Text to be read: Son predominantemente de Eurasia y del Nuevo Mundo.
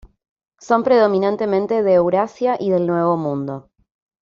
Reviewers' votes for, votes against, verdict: 2, 0, accepted